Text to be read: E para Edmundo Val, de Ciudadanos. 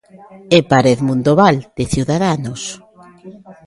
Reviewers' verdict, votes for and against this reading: rejected, 0, 2